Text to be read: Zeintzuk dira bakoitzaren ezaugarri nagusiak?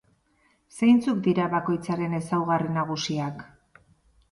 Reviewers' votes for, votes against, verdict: 2, 0, accepted